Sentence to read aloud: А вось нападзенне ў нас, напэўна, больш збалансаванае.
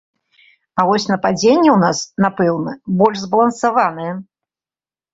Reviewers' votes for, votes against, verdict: 2, 0, accepted